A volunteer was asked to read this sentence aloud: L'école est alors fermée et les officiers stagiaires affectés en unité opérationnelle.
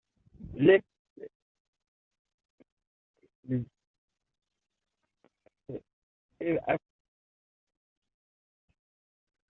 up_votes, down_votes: 0, 2